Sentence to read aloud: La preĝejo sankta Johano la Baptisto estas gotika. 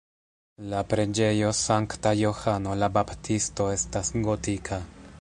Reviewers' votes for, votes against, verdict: 0, 2, rejected